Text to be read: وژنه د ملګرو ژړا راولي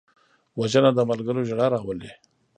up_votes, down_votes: 1, 2